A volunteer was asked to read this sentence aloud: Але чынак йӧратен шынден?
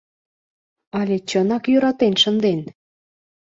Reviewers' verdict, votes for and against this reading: accepted, 2, 0